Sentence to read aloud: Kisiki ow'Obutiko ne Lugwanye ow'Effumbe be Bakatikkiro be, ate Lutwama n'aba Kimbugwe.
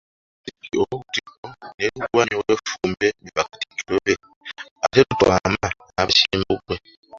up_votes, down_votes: 0, 2